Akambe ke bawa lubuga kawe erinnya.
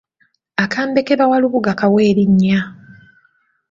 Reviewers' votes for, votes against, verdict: 3, 2, accepted